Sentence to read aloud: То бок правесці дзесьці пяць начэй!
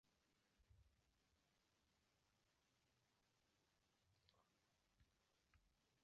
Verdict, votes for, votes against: rejected, 0, 2